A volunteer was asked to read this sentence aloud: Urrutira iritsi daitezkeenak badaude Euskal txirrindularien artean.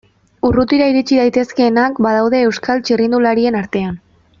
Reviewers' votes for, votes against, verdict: 2, 0, accepted